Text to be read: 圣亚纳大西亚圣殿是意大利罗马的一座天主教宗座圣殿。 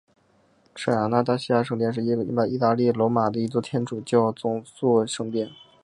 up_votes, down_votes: 1, 2